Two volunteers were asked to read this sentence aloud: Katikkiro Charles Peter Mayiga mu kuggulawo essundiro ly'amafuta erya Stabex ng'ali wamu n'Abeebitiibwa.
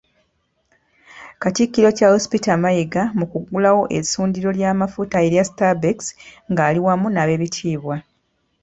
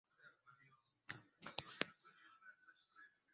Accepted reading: first